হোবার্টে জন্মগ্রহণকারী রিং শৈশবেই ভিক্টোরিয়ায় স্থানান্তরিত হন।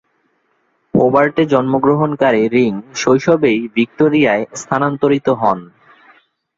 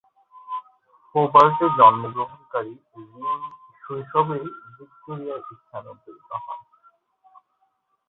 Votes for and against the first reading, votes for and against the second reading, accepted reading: 2, 0, 2, 7, first